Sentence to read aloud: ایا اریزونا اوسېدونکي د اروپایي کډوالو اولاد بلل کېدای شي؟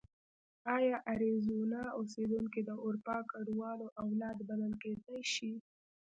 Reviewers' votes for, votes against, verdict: 1, 2, rejected